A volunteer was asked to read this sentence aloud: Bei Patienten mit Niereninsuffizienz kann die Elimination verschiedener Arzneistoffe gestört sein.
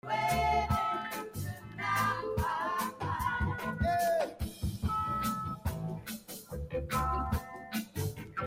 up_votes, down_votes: 0, 2